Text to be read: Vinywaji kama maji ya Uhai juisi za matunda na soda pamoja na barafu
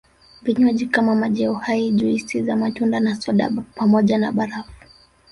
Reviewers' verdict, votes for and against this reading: rejected, 1, 2